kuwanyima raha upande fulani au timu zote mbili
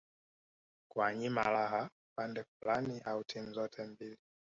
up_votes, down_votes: 1, 2